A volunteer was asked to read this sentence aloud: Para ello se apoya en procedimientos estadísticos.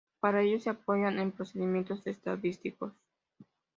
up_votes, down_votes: 2, 0